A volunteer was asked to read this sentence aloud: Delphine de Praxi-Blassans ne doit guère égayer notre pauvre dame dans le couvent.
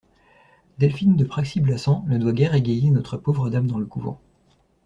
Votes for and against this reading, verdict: 1, 2, rejected